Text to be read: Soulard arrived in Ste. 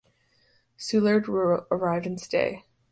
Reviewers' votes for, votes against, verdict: 0, 2, rejected